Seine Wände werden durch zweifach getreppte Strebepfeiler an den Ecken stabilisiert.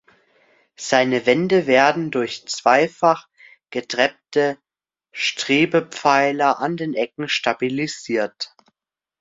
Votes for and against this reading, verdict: 3, 0, accepted